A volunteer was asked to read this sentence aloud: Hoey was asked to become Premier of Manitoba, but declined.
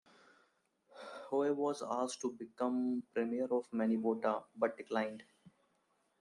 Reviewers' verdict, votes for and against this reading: rejected, 2, 3